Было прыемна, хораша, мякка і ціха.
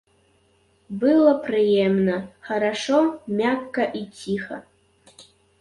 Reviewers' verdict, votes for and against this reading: rejected, 0, 2